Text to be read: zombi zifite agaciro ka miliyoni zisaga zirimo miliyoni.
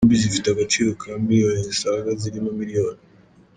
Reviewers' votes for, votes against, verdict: 1, 2, rejected